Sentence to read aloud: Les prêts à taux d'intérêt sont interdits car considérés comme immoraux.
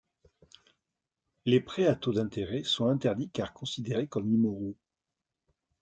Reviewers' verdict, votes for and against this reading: accepted, 2, 0